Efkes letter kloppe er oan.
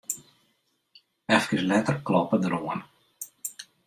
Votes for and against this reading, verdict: 2, 0, accepted